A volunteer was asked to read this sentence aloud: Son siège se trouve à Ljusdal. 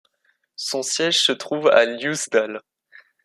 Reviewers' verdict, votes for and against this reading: rejected, 1, 2